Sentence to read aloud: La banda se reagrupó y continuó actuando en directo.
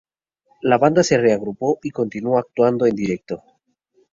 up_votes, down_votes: 4, 0